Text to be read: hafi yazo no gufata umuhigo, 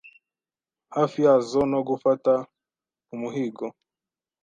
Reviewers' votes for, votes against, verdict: 2, 0, accepted